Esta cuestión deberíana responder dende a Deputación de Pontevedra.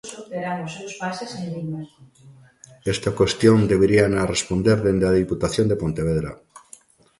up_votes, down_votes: 0, 2